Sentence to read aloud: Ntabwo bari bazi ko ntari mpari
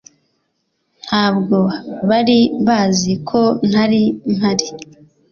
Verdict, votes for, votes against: accepted, 2, 0